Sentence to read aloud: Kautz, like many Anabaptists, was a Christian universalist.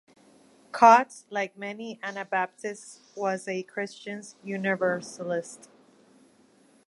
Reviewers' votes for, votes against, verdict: 0, 2, rejected